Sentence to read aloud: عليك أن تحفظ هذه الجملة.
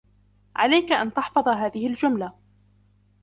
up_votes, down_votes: 2, 0